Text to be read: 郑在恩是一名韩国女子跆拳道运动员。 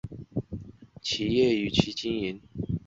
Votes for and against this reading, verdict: 0, 2, rejected